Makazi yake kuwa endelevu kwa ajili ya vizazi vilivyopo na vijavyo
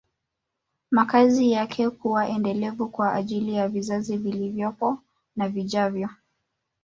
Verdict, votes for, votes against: rejected, 1, 2